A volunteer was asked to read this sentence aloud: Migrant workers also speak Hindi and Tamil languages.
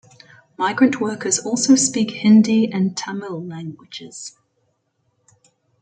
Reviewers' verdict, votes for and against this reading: rejected, 0, 2